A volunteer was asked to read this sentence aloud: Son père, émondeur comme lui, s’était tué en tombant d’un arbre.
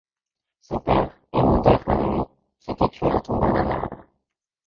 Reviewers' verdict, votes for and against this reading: rejected, 1, 2